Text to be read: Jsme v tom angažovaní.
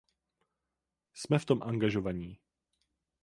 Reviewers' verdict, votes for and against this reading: accepted, 4, 0